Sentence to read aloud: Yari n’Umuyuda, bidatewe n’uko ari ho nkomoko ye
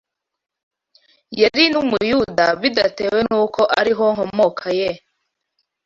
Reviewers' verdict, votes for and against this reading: rejected, 0, 2